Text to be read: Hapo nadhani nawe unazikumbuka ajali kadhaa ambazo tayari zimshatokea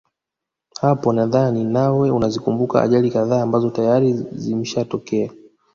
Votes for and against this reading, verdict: 1, 2, rejected